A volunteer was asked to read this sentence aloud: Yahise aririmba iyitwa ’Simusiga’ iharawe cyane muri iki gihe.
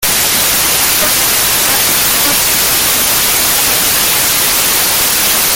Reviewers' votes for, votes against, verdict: 0, 2, rejected